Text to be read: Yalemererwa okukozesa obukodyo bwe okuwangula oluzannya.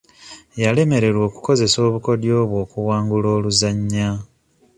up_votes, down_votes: 2, 0